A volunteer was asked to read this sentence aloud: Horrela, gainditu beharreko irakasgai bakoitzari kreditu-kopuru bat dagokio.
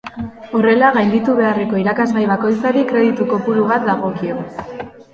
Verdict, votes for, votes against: rejected, 1, 2